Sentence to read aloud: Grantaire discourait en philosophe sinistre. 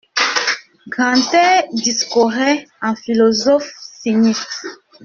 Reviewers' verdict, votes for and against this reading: rejected, 1, 2